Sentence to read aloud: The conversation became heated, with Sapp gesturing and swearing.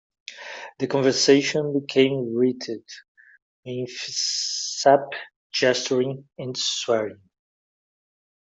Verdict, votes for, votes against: rejected, 0, 2